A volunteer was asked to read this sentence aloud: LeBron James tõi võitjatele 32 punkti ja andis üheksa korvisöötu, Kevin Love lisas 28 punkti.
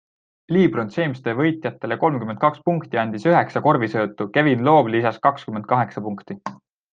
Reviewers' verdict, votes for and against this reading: rejected, 0, 2